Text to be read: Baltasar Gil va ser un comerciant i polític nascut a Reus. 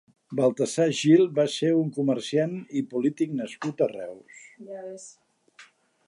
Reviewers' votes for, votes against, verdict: 3, 0, accepted